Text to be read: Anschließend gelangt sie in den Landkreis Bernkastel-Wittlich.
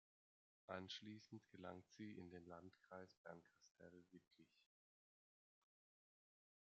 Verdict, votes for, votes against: rejected, 1, 2